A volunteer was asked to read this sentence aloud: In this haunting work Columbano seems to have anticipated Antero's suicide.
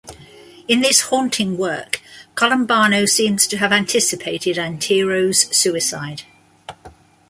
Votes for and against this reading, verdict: 2, 0, accepted